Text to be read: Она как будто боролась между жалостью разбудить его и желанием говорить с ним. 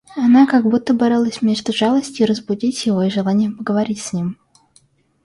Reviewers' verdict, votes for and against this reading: rejected, 0, 2